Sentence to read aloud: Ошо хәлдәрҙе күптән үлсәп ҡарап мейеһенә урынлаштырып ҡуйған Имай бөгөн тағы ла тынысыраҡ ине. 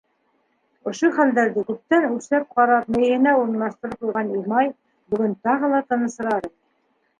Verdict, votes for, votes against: rejected, 1, 2